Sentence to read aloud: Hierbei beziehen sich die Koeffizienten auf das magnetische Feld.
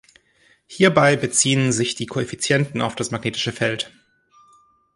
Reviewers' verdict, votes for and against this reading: accepted, 2, 0